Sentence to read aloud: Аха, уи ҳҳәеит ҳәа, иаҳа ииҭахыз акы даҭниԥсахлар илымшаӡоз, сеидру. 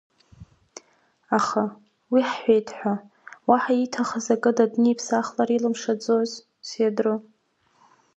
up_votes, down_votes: 1, 2